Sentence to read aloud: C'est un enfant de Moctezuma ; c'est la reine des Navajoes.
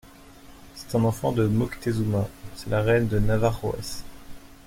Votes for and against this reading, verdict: 2, 0, accepted